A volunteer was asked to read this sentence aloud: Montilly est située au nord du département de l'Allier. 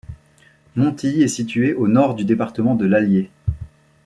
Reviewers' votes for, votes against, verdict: 2, 0, accepted